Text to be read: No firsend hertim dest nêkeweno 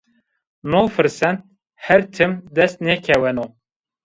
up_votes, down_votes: 1, 2